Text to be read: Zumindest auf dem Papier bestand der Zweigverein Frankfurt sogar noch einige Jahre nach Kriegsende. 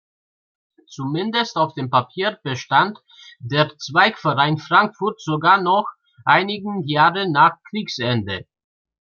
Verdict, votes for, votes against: rejected, 0, 2